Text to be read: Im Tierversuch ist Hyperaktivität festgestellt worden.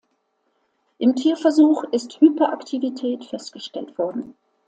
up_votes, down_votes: 2, 0